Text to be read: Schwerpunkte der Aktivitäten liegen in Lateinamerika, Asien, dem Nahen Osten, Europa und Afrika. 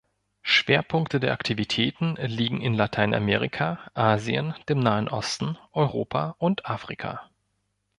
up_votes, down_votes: 2, 0